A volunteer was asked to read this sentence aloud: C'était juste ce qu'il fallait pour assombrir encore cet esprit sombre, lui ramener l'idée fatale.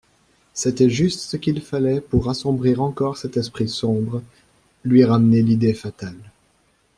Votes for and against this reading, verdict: 2, 0, accepted